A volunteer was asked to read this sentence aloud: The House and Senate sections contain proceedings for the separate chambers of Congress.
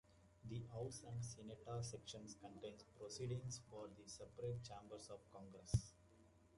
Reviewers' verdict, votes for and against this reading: rejected, 0, 2